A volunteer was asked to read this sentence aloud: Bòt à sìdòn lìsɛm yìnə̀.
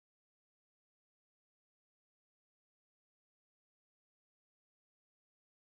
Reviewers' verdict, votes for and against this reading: rejected, 0, 2